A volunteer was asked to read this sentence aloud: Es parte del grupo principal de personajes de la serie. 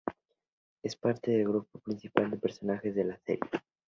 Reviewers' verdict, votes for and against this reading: rejected, 0, 2